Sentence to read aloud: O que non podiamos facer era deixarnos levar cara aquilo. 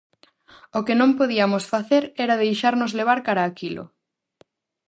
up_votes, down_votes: 4, 0